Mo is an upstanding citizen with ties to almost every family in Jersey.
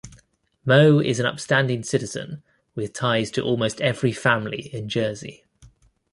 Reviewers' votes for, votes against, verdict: 2, 0, accepted